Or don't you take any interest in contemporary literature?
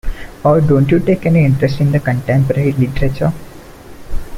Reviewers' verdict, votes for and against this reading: rejected, 0, 2